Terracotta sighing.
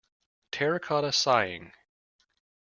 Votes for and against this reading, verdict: 2, 0, accepted